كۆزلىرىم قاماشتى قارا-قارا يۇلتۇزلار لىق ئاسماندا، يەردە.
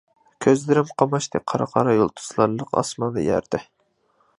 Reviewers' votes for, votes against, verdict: 2, 0, accepted